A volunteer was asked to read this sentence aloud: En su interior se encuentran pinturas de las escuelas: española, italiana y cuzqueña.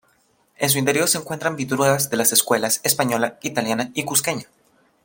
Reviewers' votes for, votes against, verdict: 2, 1, accepted